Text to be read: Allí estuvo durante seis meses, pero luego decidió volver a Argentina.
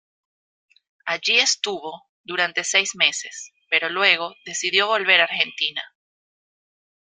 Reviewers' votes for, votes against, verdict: 2, 0, accepted